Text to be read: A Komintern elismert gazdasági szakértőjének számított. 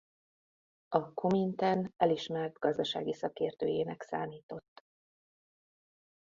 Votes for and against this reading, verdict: 2, 0, accepted